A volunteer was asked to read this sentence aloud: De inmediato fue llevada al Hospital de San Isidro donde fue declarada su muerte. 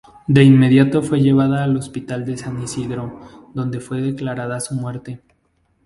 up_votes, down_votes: 2, 0